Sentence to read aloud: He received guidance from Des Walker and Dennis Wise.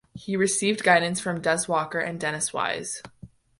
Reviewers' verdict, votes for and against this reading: accepted, 3, 0